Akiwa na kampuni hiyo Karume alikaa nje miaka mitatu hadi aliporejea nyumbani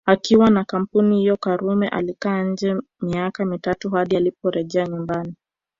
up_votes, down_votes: 1, 2